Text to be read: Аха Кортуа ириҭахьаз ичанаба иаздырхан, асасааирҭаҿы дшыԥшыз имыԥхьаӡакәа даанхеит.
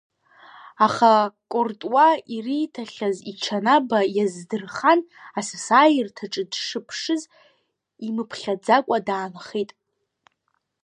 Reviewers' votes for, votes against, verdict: 1, 2, rejected